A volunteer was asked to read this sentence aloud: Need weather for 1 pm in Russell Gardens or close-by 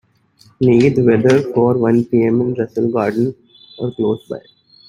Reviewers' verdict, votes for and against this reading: rejected, 0, 2